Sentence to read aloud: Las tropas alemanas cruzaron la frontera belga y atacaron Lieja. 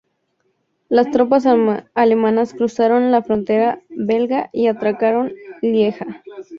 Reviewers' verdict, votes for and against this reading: rejected, 0, 2